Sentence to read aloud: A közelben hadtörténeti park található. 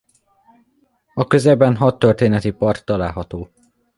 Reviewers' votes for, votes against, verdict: 2, 0, accepted